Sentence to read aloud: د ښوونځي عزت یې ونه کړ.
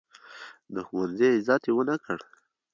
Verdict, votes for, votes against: accepted, 2, 0